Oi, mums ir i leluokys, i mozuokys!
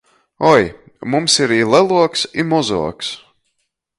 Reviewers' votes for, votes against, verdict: 1, 2, rejected